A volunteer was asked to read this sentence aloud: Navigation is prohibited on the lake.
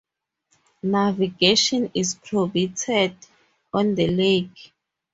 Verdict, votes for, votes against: rejected, 2, 4